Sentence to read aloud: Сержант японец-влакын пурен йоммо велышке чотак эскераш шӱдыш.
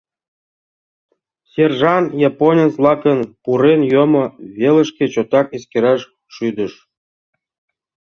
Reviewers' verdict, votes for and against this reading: accepted, 2, 1